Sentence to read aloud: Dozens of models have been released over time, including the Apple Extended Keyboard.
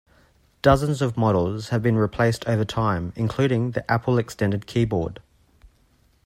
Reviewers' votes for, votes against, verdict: 1, 2, rejected